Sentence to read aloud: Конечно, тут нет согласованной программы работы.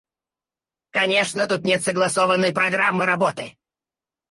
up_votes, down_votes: 2, 4